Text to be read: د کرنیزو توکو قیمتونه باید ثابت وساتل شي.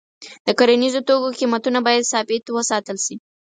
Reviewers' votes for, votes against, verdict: 4, 0, accepted